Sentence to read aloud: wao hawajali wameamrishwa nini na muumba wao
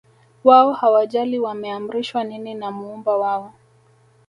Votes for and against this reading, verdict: 1, 2, rejected